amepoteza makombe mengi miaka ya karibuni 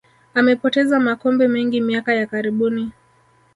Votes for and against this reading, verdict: 0, 2, rejected